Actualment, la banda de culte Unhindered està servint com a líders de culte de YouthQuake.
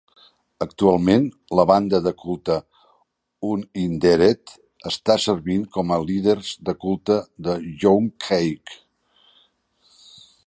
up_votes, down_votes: 1, 2